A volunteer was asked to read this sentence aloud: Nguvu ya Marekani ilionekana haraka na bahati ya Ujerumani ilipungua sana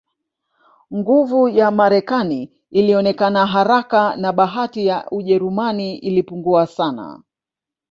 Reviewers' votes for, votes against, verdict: 0, 2, rejected